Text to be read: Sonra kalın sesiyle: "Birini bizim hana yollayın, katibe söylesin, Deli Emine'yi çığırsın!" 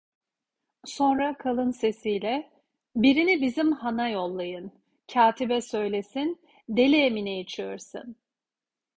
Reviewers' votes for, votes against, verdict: 2, 0, accepted